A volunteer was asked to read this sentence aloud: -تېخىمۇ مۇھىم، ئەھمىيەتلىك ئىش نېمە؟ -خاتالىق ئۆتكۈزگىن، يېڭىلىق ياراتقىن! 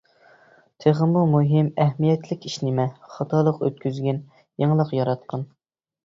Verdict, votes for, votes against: accepted, 2, 0